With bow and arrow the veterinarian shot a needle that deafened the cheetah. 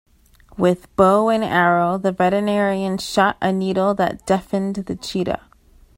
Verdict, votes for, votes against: accepted, 2, 0